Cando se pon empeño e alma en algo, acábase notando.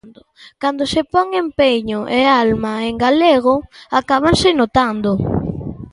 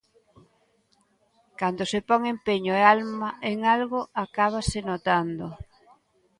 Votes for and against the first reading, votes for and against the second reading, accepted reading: 0, 2, 3, 0, second